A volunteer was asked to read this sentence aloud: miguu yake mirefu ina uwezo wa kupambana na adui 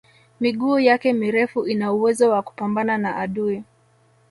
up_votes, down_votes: 2, 0